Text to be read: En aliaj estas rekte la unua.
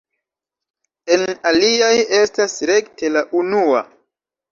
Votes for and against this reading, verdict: 1, 2, rejected